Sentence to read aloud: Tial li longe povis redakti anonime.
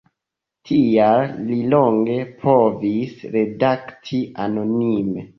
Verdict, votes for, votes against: accepted, 2, 0